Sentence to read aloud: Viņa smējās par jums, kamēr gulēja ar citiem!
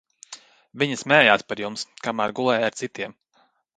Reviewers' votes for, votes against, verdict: 2, 0, accepted